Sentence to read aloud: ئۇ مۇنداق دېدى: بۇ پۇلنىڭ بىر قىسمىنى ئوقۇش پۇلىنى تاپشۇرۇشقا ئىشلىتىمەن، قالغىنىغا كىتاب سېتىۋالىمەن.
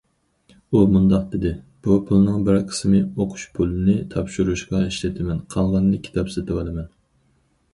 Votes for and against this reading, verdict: 0, 4, rejected